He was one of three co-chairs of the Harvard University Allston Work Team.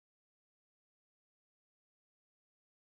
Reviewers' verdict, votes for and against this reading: rejected, 0, 2